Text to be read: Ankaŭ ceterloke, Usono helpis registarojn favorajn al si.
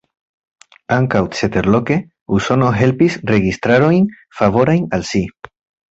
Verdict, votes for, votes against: accepted, 2, 0